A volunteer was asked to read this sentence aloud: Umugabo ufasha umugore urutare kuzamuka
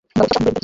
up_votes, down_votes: 0, 2